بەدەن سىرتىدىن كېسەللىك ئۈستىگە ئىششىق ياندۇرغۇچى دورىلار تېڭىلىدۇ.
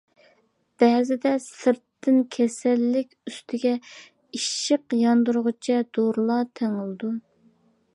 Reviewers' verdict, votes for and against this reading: rejected, 0, 2